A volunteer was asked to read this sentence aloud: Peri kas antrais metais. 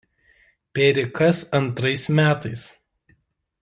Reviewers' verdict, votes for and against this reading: rejected, 1, 2